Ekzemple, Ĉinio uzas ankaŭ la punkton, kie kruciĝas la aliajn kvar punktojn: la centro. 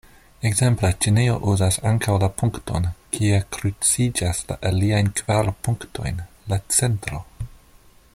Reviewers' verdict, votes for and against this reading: accepted, 2, 0